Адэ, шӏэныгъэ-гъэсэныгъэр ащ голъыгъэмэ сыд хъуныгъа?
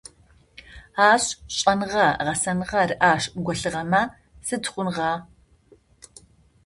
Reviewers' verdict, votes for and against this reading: rejected, 0, 2